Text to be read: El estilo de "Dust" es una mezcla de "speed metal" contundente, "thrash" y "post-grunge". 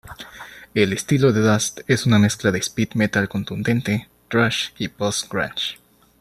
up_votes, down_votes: 2, 0